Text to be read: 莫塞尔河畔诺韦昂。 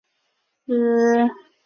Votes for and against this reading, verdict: 0, 3, rejected